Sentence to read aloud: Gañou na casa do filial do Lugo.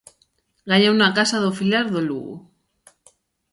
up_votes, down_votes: 1, 2